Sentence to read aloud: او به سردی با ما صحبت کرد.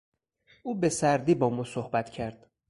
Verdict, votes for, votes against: accepted, 4, 0